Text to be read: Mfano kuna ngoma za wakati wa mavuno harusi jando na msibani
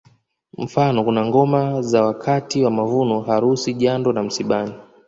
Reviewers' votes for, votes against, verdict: 2, 0, accepted